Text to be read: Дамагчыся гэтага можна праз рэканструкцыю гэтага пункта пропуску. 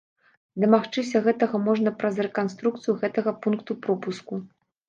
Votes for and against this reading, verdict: 1, 2, rejected